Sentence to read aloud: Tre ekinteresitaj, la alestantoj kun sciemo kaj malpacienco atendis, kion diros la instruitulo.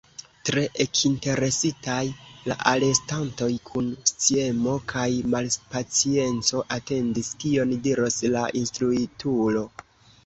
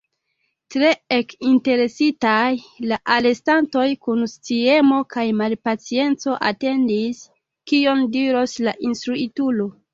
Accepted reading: second